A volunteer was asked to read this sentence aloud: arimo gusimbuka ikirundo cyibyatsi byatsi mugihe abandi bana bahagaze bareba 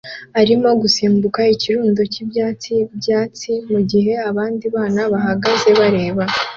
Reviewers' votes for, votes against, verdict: 2, 0, accepted